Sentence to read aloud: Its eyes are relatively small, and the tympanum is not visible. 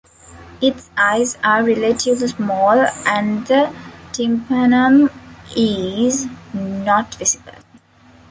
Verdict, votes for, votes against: rejected, 1, 2